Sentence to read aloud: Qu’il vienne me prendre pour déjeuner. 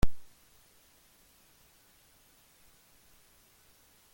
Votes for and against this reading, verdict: 0, 2, rejected